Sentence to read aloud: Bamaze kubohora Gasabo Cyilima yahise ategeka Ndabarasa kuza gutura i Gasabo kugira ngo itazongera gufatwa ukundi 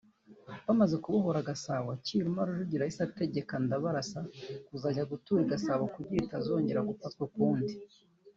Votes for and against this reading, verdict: 1, 2, rejected